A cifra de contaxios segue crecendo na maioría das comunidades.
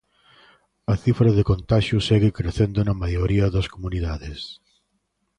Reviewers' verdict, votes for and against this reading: accepted, 2, 0